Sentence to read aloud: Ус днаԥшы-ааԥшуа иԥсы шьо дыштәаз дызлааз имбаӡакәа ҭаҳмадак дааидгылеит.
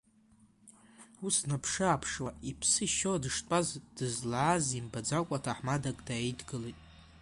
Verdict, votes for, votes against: accepted, 2, 0